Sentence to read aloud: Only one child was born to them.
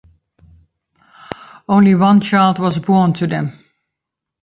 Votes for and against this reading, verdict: 3, 0, accepted